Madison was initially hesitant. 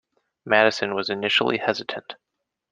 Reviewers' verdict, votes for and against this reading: rejected, 1, 2